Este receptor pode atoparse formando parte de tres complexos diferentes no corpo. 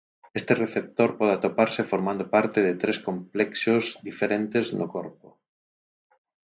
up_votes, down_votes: 2, 4